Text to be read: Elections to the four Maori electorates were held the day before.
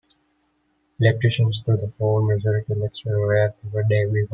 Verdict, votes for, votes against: rejected, 1, 2